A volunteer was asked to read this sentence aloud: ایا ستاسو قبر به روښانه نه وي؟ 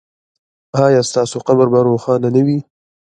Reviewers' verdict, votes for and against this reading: rejected, 1, 2